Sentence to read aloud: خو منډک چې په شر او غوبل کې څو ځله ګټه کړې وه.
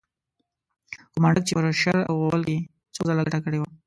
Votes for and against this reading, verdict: 1, 2, rejected